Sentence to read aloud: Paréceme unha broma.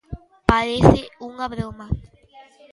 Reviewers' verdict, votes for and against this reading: rejected, 0, 2